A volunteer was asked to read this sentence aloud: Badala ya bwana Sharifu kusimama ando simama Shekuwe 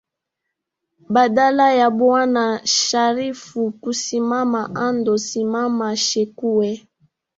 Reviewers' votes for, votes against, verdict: 3, 1, accepted